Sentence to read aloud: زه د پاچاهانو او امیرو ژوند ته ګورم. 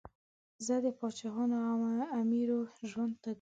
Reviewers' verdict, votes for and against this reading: rejected, 1, 2